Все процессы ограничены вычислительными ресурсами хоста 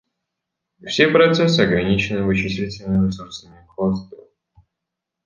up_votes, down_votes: 0, 2